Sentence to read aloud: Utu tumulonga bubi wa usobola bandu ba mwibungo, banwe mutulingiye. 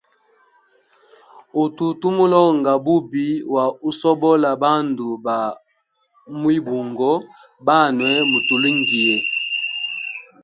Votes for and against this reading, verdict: 1, 2, rejected